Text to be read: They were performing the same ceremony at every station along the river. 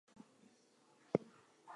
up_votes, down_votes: 0, 2